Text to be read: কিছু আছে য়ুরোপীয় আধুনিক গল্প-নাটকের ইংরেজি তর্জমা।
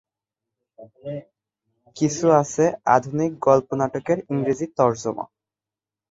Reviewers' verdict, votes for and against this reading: rejected, 0, 2